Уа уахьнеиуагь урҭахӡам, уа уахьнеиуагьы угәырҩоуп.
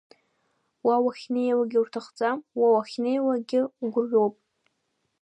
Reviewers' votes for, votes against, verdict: 3, 0, accepted